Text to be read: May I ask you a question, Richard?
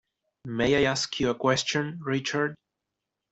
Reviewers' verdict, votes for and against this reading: accepted, 2, 0